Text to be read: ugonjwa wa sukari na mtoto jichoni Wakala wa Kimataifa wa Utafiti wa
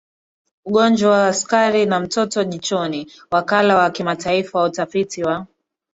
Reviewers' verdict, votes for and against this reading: accepted, 2, 0